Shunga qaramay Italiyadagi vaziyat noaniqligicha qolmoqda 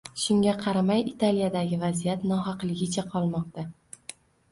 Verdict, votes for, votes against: rejected, 1, 2